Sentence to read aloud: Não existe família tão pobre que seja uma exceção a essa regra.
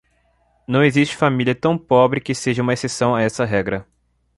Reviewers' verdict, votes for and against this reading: accepted, 2, 0